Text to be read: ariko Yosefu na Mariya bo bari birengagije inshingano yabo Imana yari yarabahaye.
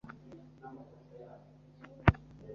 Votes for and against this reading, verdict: 1, 2, rejected